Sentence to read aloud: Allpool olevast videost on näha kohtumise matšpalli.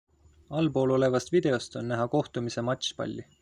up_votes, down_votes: 2, 0